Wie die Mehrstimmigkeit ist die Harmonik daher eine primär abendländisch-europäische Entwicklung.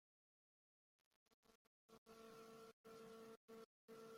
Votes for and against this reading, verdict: 0, 2, rejected